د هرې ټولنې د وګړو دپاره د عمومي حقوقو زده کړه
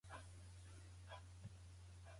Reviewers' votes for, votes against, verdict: 0, 2, rejected